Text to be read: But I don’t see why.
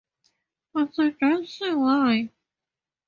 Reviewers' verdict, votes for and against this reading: rejected, 0, 2